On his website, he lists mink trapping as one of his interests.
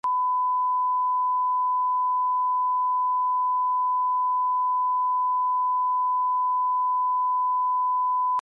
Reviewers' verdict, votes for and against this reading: rejected, 0, 2